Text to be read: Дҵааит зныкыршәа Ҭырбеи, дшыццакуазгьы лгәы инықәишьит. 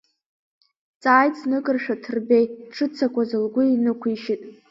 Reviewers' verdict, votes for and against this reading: accepted, 2, 0